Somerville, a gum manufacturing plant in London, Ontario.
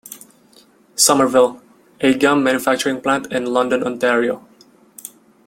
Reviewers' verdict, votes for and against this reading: accepted, 2, 1